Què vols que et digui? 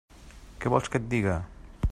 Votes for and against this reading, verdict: 0, 2, rejected